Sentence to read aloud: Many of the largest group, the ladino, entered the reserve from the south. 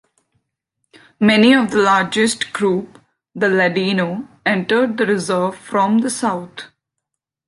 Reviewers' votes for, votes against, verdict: 2, 1, accepted